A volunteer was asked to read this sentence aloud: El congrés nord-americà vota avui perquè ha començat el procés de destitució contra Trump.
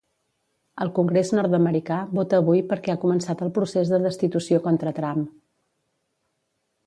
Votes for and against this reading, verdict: 2, 0, accepted